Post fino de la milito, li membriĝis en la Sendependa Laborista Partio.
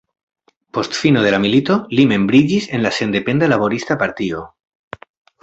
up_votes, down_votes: 2, 0